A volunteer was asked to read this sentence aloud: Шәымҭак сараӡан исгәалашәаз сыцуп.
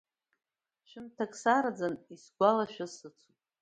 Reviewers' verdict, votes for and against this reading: accepted, 2, 1